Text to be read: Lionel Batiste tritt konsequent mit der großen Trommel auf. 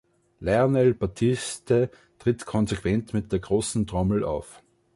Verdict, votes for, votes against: accepted, 2, 0